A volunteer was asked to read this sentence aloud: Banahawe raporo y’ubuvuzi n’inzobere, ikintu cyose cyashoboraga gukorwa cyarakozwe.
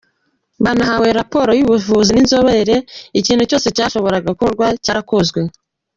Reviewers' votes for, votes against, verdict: 2, 0, accepted